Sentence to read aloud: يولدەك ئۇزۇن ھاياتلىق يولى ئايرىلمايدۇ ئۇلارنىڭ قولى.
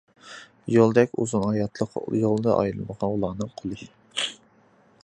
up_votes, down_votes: 0, 2